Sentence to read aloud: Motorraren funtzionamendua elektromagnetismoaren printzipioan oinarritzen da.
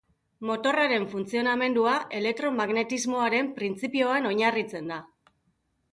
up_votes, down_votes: 3, 0